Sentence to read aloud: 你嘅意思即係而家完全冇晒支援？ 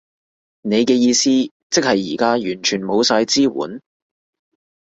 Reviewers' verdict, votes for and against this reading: accepted, 2, 0